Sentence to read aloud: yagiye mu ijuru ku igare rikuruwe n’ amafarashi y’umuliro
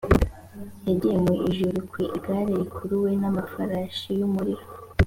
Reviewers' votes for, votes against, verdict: 5, 0, accepted